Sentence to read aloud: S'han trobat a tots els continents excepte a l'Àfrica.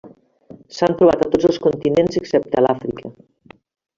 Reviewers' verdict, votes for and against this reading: rejected, 0, 2